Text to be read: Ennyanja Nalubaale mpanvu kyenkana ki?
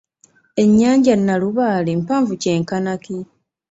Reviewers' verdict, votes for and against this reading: accepted, 2, 0